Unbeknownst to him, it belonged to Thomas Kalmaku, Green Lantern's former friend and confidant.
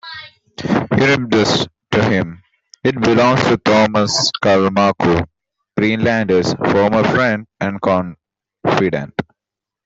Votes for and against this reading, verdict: 0, 2, rejected